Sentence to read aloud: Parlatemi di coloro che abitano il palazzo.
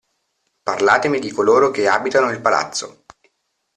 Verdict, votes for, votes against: accepted, 2, 0